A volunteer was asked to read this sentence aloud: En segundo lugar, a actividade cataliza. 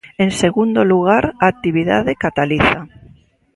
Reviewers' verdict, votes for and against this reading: accepted, 2, 0